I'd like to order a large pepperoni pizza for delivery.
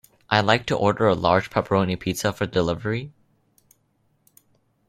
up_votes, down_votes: 2, 0